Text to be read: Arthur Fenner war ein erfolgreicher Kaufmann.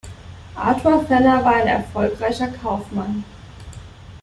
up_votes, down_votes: 2, 1